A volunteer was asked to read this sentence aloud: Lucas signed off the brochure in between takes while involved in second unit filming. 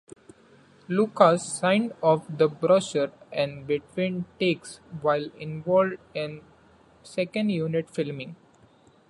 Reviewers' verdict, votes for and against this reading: accepted, 2, 1